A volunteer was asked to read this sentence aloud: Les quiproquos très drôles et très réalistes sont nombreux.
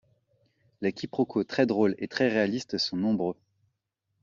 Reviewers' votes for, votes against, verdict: 2, 0, accepted